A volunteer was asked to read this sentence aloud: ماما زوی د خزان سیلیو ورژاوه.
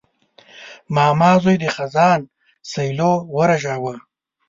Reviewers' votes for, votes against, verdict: 2, 0, accepted